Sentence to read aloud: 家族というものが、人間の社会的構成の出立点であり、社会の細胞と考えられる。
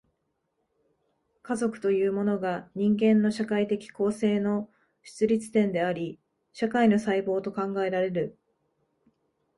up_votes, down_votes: 2, 0